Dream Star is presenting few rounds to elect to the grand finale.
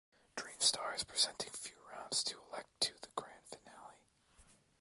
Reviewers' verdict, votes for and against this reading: rejected, 0, 2